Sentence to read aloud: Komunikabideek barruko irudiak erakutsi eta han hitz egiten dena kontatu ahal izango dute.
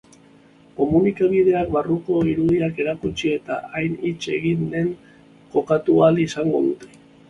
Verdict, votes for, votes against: rejected, 0, 2